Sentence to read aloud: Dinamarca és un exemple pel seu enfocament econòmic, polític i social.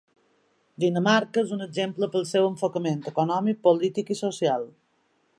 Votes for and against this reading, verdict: 3, 1, accepted